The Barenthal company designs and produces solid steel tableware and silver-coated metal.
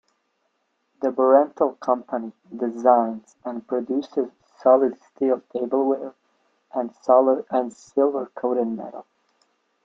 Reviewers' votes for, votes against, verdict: 2, 1, accepted